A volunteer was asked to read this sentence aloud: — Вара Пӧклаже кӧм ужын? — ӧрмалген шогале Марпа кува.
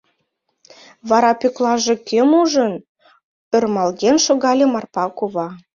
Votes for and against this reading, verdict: 2, 0, accepted